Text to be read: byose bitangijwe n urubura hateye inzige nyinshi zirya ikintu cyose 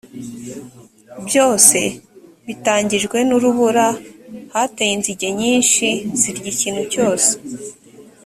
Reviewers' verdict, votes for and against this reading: accepted, 2, 0